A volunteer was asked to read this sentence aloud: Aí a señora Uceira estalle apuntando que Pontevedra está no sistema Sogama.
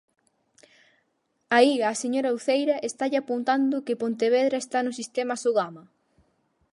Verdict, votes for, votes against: accepted, 4, 0